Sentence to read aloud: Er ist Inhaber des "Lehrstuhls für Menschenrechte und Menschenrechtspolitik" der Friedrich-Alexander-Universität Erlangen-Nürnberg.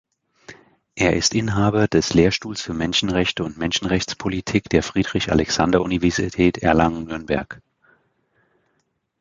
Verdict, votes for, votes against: rejected, 1, 2